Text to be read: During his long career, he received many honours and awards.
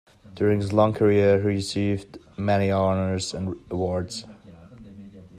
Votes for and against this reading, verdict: 2, 0, accepted